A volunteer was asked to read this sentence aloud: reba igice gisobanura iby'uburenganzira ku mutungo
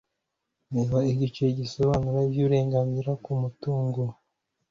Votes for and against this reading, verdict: 2, 0, accepted